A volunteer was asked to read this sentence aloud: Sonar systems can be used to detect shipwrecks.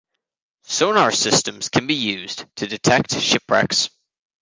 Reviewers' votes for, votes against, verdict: 2, 0, accepted